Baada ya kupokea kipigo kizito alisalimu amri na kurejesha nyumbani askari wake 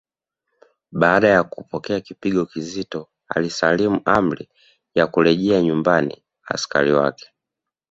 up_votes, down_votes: 2, 0